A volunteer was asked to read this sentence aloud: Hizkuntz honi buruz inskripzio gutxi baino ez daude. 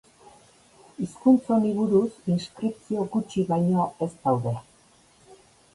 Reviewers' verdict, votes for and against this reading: accepted, 2, 0